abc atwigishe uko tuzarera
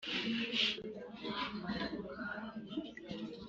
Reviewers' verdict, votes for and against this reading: rejected, 0, 2